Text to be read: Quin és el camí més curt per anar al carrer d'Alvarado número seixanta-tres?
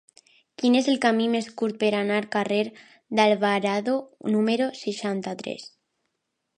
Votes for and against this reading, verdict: 2, 1, accepted